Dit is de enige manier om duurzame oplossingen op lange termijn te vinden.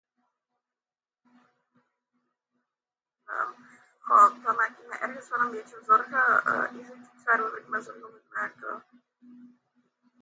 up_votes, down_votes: 0, 2